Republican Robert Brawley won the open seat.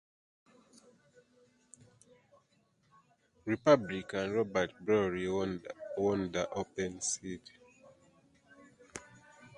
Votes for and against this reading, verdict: 0, 2, rejected